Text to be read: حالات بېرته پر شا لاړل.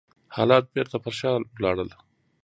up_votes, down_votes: 2, 1